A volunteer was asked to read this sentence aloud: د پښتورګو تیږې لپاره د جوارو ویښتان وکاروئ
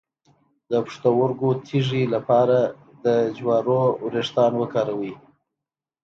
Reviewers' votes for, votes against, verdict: 2, 0, accepted